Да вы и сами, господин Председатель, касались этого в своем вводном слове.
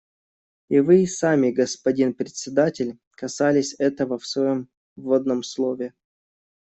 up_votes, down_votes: 1, 2